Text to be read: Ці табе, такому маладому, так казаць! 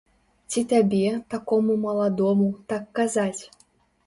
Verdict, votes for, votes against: accepted, 2, 0